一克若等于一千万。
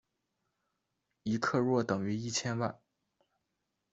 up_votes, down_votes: 2, 0